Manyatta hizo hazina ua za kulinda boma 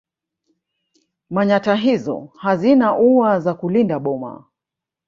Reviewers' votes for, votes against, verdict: 2, 1, accepted